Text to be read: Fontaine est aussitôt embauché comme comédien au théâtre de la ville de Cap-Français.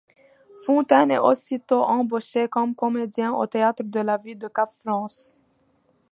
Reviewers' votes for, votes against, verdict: 0, 2, rejected